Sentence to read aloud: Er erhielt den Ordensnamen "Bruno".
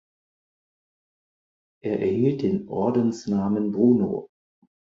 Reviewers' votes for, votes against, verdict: 4, 0, accepted